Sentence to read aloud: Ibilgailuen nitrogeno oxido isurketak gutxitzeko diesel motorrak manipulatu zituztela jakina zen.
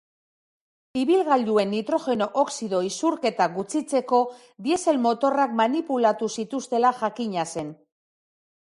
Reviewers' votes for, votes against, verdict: 5, 0, accepted